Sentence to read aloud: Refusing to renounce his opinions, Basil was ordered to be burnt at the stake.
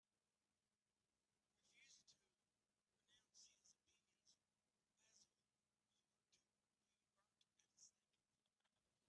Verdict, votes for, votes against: rejected, 1, 2